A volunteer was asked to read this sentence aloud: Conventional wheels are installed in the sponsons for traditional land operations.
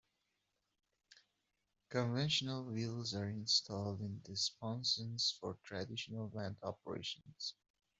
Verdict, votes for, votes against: accepted, 2, 0